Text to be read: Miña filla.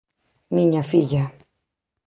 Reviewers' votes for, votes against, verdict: 12, 0, accepted